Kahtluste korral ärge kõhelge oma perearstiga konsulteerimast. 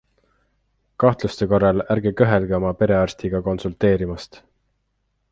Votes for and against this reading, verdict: 2, 0, accepted